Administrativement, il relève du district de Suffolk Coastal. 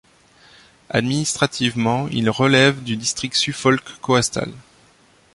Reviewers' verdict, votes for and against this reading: rejected, 0, 2